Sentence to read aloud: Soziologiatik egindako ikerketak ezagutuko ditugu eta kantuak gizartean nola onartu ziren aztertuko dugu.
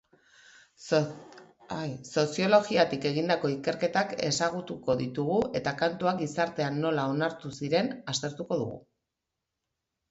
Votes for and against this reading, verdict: 1, 2, rejected